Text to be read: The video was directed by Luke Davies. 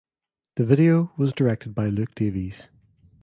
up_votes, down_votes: 2, 0